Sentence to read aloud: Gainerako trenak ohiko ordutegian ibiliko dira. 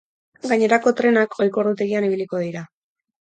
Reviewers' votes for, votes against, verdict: 4, 0, accepted